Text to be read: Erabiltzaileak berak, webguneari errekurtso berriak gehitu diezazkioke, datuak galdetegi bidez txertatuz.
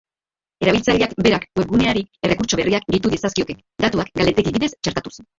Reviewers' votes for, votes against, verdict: 1, 2, rejected